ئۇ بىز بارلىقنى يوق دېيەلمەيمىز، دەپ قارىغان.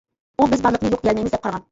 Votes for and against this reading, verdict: 0, 2, rejected